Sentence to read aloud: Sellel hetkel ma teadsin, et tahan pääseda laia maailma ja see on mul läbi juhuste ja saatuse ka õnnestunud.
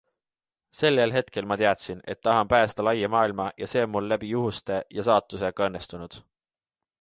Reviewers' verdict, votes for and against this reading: accepted, 2, 0